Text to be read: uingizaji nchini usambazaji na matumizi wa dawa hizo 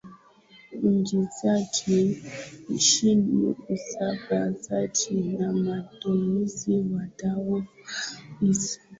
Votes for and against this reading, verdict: 2, 0, accepted